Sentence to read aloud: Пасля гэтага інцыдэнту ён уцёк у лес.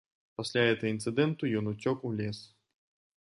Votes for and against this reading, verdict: 0, 2, rejected